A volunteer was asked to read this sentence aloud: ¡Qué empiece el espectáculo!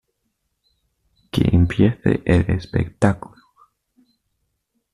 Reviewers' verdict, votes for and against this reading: accepted, 2, 0